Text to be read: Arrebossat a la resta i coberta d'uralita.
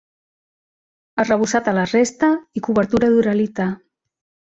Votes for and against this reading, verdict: 0, 2, rejected